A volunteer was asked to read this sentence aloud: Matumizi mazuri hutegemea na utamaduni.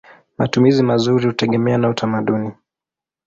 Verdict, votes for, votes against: accepted, 7, 0